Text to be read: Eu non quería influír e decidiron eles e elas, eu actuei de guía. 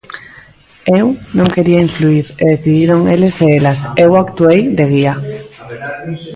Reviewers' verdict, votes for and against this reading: rejected, 1, 2